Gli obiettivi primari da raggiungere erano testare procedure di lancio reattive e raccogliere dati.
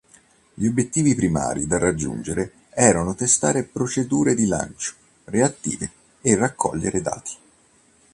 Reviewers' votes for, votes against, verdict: 2, 0, accepted